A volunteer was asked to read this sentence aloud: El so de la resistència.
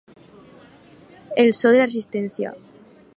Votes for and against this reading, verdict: 4, 2, accepted